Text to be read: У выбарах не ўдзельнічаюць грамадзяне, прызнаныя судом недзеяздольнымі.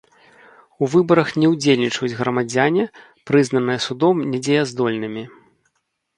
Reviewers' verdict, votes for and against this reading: rejected, 1, 2